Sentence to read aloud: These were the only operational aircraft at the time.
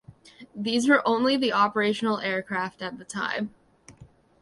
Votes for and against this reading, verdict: 1, 2, rejected